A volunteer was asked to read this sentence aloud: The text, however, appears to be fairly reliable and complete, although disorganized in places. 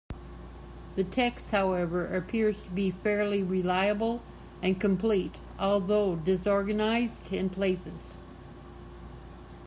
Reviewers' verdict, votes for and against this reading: accepted, 2, 0